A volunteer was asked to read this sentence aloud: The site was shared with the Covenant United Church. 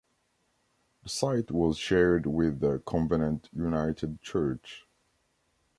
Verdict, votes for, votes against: rejected, 0, 2